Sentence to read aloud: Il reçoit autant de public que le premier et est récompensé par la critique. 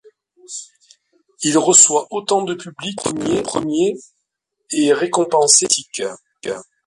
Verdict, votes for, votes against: rejected, 0, 2